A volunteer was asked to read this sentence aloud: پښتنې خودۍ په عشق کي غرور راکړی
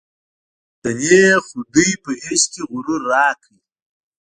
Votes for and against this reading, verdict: 0, 2, rejected